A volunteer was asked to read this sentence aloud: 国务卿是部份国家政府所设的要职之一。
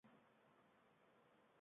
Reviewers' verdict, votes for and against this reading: rejected, 0, 2